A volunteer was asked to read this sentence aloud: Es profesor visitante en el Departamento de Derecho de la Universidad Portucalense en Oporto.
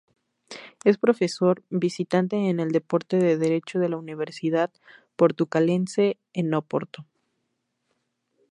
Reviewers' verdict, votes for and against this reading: rejected, 0, 2